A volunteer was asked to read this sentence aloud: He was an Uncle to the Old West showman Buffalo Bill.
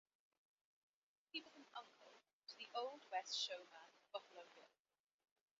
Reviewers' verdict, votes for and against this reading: rejected, 0, 2